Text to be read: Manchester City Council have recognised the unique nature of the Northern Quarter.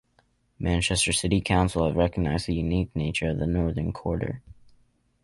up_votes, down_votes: 2, 0